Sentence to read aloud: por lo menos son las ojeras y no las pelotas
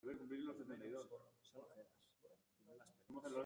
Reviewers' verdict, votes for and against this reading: rejected, 0, 2